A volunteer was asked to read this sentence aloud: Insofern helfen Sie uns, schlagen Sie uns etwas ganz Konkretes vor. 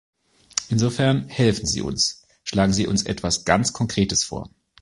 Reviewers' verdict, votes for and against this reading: accepted, 2, 0